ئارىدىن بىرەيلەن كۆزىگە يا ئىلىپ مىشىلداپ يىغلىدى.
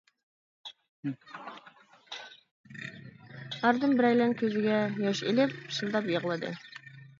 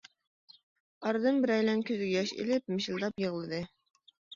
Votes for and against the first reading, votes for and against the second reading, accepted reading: 0, 2, 2, 0, second